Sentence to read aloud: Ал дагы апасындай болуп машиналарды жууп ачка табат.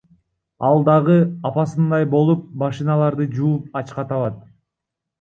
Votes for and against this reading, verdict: 1, 2, rejected